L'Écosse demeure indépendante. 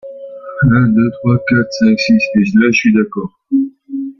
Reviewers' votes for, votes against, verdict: 0, 2, rejected